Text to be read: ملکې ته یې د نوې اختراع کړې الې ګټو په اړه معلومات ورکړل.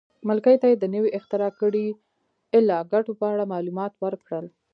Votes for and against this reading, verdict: 1, 2, rejected